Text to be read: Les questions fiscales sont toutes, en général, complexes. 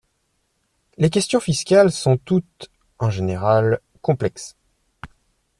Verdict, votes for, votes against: accepted, 2, 0